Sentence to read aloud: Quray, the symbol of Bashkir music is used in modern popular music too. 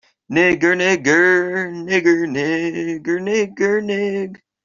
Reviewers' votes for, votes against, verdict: 0, 2, rejected